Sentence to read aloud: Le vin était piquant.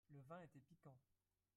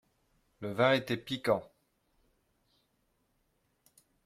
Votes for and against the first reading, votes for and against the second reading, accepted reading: 1, 4, 2, 0, second